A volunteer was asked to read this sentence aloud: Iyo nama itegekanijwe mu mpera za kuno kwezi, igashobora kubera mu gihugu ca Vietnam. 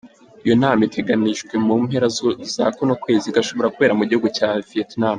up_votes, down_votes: 1, 2